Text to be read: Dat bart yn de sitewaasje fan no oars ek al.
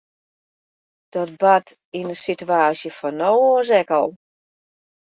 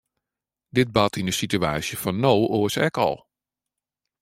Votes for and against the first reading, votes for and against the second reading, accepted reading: 2, 0, 1, 2, first